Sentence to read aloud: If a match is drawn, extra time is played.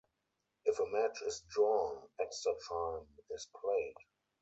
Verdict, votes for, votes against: rejected, 2, 4